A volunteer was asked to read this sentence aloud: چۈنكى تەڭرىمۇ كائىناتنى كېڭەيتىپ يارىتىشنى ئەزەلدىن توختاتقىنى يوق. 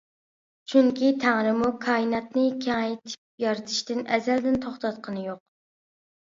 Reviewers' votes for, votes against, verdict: 0, 2, rejected